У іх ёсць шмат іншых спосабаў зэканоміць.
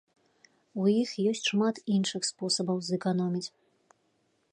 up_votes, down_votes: 2, 0